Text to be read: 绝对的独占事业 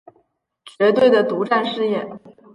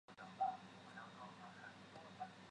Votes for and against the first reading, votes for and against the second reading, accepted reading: 3, 0, 0, 2, first